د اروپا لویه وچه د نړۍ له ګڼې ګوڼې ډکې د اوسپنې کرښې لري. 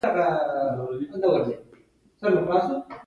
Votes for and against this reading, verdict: 1, 2, rejected